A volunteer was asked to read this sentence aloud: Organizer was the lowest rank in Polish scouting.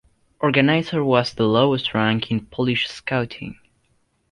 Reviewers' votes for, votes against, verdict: 2, 0, accepted